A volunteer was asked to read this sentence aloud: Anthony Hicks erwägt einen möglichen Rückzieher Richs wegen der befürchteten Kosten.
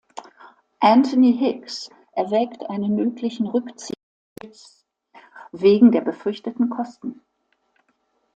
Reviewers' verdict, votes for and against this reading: rejected, 1, 2